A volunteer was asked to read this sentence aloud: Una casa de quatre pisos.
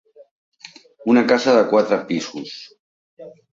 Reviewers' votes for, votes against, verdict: 3, 0, accepted